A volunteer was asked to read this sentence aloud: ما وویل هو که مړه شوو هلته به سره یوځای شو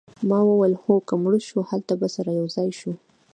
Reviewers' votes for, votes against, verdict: 2, 1, accepted